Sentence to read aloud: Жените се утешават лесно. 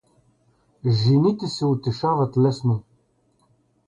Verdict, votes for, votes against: rejected, 0, 2